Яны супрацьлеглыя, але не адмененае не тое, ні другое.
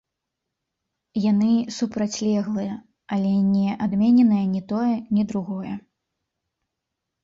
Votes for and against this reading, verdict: 2, 0, accepted